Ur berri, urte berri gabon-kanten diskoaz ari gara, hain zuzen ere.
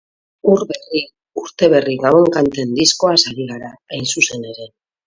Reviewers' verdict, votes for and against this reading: rejected, 2, 2